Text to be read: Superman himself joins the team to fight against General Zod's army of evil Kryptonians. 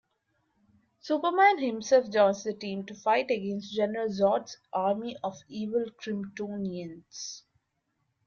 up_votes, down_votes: 1, 2